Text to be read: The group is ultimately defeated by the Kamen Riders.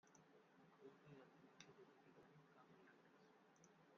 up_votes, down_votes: 0, 2